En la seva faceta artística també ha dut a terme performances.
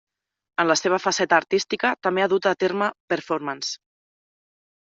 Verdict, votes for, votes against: accepted, 2, 1